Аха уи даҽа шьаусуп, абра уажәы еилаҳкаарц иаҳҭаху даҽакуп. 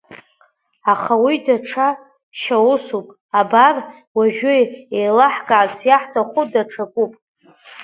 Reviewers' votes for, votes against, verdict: 1, 2, rejected